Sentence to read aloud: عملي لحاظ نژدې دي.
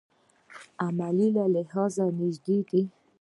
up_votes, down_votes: 1, 2